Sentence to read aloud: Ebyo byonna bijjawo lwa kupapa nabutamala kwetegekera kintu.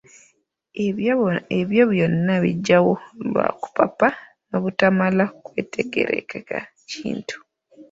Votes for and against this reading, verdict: 0, 2, rejected